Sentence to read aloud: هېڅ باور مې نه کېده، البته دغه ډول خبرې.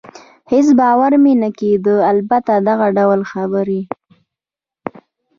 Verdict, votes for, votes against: rejected, 1, 2